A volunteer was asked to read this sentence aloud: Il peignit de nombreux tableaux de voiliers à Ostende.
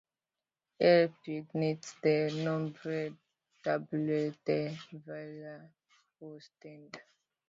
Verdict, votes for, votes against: rejected, 1, 2